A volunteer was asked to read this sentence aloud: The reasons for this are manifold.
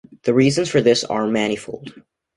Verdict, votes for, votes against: accepted, 2, 0